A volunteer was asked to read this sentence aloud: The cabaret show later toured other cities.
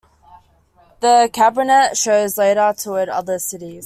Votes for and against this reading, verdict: 1, 2, rejected